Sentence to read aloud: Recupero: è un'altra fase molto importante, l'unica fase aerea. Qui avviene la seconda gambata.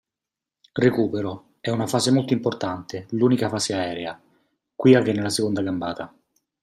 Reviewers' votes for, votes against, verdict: 1, 2, rejected